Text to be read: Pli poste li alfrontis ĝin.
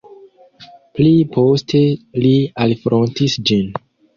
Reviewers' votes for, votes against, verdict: 2, 0, accepted